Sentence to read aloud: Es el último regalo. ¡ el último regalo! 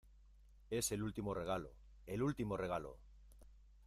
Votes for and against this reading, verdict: 0, 2, rejected